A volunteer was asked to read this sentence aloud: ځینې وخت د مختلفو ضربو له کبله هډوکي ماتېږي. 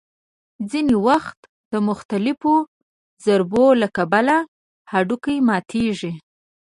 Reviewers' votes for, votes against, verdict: 2, 0, accepted